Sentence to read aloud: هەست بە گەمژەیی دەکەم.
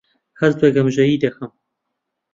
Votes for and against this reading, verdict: 2, 0, accepted